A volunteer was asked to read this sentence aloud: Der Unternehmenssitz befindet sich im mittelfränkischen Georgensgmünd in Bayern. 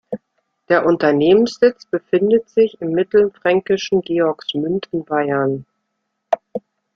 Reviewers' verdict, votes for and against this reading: rejected, 0, 2